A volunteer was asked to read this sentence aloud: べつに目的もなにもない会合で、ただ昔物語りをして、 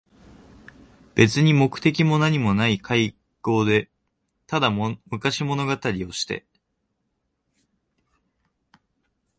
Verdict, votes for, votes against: rejected, 0, 2